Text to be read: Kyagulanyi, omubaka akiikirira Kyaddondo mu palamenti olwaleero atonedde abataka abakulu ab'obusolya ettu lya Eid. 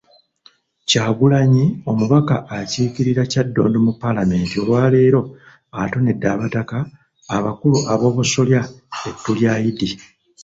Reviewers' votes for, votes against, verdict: 2, 0, accepted